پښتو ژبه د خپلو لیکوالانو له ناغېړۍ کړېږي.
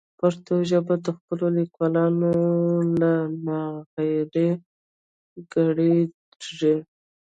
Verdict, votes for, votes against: rejected, 1, 2